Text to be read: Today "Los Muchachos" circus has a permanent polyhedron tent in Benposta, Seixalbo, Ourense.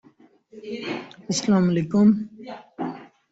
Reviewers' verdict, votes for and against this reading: rejected, 0, 2